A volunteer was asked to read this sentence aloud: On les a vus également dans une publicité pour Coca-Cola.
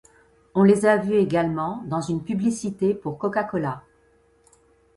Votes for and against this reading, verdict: 2, 0, accepted